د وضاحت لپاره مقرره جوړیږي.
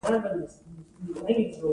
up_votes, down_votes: 1, 2